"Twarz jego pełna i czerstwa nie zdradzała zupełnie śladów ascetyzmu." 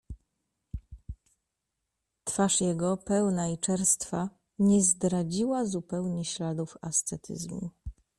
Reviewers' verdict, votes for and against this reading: rejected, 1, 2